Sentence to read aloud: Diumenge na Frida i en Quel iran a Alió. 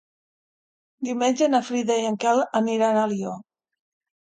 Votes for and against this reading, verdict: 0, 2, rejected